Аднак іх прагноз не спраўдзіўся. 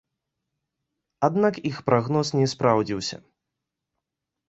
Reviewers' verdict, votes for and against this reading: accepted, 2, 0